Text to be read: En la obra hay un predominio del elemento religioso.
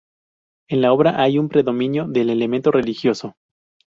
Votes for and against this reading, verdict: 2, 0, accepted